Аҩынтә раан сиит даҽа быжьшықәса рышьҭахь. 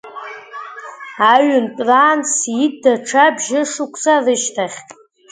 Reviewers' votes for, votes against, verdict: 1, 2, rejected